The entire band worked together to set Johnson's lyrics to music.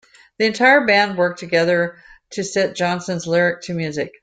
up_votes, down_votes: 1, 2